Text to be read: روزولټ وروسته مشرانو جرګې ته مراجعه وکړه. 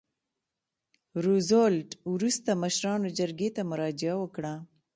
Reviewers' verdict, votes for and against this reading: accepted, 2, 0